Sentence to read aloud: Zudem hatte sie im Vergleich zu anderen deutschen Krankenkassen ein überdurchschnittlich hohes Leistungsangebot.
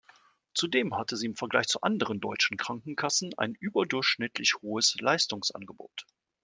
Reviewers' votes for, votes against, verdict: 2, 0, accepted